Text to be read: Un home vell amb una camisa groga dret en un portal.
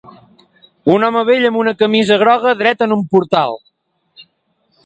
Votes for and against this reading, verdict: 2, 0, accepted